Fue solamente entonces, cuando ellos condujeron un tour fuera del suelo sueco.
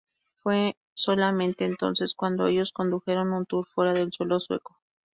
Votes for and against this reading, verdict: 0, 2, rejected